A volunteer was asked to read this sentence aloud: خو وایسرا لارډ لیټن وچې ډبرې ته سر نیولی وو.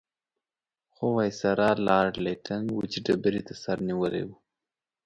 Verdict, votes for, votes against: accepted, 3, 0